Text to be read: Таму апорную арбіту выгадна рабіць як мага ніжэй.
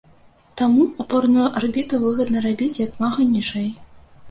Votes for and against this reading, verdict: 0, 2, rejected